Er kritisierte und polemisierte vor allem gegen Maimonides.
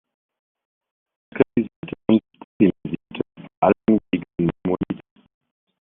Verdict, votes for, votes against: rejected, 0, 2